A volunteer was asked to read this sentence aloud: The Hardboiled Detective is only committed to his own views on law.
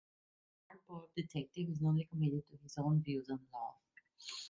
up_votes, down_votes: 0, 2